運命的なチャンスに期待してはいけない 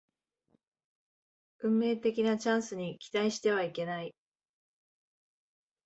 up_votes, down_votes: 2, 0